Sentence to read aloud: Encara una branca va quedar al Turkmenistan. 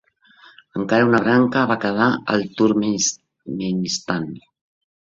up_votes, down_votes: 0, 2